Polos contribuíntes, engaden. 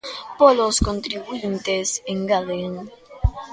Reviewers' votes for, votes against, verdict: 2, 1, accepted